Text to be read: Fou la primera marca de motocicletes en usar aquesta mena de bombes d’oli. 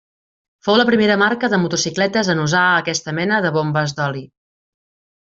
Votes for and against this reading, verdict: 3, 0, accepted